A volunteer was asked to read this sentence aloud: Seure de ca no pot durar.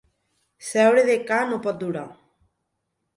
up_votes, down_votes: 2, 0